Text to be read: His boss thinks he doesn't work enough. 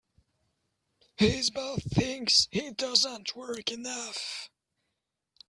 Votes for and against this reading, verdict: 0, 2, rejected